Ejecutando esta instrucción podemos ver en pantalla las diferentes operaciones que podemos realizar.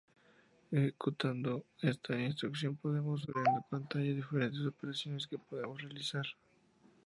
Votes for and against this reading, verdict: 0, 2, rejected